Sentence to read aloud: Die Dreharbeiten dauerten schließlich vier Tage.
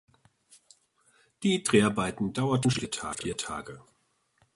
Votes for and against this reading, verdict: 0, 2, rejected